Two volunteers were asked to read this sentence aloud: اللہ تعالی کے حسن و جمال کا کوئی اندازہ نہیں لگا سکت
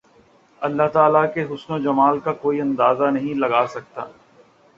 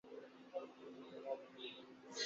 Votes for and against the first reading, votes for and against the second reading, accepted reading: 2, 0, 0, 3, first